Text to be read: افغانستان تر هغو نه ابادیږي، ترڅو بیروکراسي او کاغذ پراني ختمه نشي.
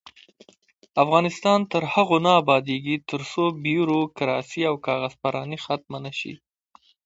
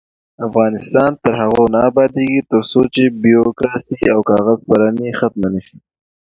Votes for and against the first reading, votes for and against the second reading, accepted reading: 1, 2, 2, 0, second